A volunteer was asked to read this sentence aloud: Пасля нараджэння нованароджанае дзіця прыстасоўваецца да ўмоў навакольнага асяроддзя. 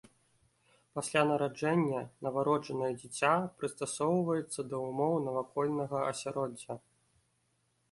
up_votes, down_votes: 0, 2